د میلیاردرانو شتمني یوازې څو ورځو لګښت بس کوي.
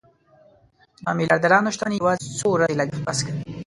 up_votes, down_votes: 1, 2